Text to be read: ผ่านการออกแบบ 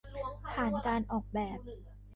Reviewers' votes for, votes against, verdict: 1, 2, rejected